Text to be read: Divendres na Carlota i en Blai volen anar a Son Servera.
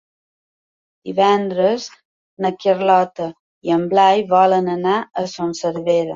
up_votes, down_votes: 2, 0